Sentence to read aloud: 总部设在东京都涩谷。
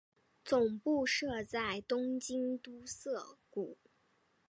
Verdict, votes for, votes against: accepted, 3, 0